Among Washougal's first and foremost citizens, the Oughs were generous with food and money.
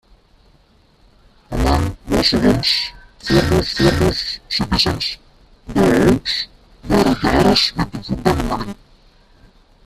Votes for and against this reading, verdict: 0, 2, rejected